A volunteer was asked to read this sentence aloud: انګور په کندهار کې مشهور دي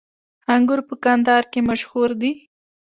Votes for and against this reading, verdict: 2, 0, accepted